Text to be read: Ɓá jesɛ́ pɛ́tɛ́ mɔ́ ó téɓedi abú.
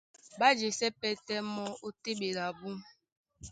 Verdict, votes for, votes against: accepted, 2, 0